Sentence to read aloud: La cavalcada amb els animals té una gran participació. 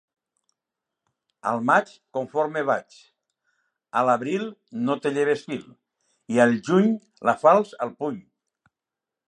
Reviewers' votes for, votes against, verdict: 0, 2, rejected